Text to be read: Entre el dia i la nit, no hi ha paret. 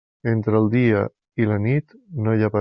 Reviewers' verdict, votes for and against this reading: rejected, 1, 2